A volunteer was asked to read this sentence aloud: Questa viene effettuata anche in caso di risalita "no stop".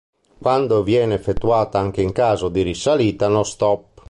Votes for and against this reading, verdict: 0, 2, rejected